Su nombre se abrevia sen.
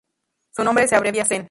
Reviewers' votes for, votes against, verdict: 2, 2, rejected